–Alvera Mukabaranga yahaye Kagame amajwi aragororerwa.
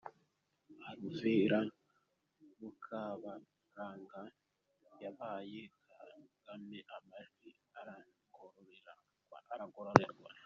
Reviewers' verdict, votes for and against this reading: rejected, 0, 3